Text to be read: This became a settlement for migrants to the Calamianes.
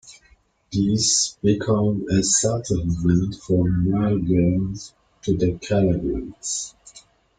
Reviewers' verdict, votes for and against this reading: accepted, 2, 1